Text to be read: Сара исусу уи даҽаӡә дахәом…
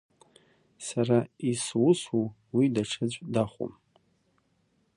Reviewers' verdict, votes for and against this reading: accepted, 2, 0